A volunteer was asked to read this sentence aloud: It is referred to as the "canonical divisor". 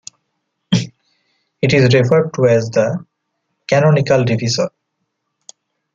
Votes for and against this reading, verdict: 1, 2, rejected